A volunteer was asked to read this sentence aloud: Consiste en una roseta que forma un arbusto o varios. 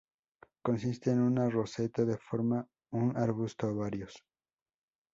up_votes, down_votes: 0, 2